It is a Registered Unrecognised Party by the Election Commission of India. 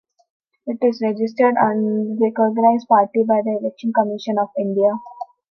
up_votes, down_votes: 0, 2